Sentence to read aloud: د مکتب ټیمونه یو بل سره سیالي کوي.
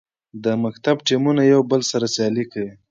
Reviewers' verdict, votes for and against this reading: accepted, 2, 0